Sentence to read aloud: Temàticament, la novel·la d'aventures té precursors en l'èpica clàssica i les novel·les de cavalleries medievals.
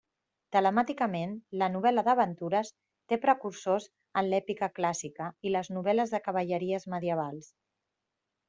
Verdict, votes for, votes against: rejected, 0, 2